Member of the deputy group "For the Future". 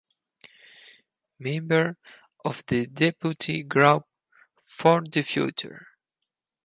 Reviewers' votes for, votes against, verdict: 4, 2, accepted